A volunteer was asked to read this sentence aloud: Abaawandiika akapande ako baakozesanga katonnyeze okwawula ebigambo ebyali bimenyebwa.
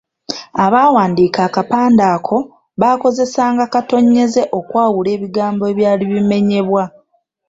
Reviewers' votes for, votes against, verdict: 3, 0, accepted